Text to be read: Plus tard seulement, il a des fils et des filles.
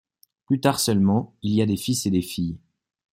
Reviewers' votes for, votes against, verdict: 1, 2, rejected